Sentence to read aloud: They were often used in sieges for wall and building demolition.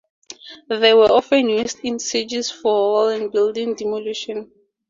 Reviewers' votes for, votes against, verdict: 2, 0, accepted